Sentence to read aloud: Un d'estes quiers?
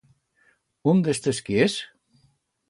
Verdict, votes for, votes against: accepted, 2, 0